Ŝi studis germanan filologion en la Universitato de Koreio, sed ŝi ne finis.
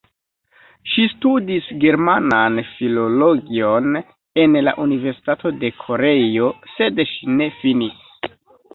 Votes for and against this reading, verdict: 0, 2, rejected